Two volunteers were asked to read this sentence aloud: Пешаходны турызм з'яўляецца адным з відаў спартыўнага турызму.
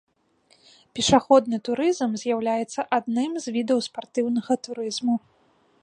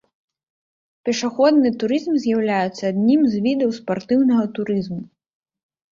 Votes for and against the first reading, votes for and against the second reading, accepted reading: 2, 0, 1, 2, first